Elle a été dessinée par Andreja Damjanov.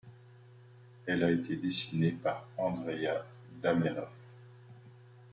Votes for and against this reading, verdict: 1, 2, rejected